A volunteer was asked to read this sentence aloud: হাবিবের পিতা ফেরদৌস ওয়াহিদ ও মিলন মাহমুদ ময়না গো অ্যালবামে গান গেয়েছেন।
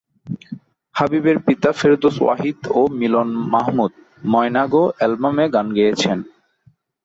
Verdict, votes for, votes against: accepted, 2, 0